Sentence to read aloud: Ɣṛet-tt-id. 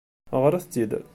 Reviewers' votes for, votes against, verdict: 2, 0, accepted